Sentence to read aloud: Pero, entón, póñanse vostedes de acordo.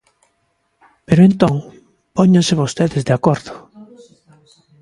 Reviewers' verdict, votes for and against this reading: rejected, 1, 2